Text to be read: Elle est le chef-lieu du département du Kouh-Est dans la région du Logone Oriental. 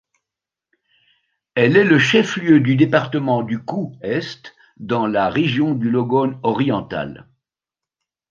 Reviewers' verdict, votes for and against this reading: accepted, 2, 0